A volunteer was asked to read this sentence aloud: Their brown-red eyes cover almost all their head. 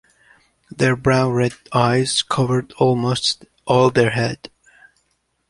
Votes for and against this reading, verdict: 2, 1, accepted